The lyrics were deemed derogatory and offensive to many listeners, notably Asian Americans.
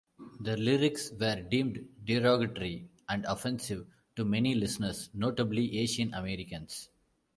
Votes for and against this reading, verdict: 2, 0, accepted